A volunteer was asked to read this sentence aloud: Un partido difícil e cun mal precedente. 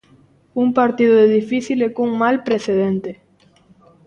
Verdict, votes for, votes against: accepted, 2, 0